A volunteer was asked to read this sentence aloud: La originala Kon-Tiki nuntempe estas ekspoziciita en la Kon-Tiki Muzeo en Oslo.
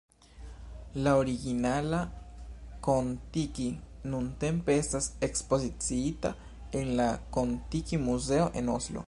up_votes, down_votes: 2, 0